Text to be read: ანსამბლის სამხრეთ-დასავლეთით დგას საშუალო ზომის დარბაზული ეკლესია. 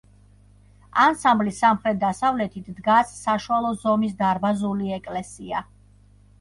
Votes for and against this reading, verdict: 1, 2, rejected